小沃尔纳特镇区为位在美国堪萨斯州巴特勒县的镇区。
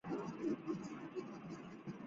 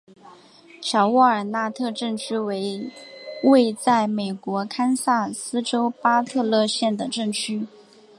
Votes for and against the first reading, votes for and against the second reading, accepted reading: 3, 5, 5, 0, second